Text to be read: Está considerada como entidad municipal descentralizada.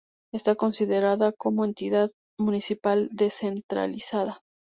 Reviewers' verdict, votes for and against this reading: accepted, 4, 2